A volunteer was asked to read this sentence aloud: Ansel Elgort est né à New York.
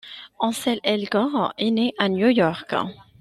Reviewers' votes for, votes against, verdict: 2, 0, accepted